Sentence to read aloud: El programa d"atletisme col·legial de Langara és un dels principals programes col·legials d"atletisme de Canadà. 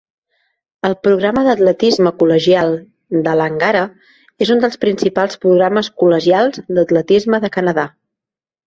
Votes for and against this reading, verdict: 2, 0, accepted